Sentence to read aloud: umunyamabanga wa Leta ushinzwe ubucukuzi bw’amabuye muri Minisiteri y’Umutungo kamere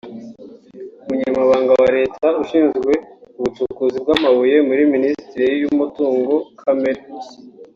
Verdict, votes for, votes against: rejected, 1, 2